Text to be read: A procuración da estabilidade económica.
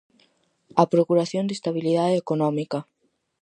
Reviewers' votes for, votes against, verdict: 4, 0, accepted